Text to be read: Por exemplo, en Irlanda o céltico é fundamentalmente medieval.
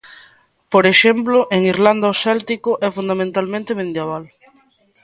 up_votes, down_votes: 2, 1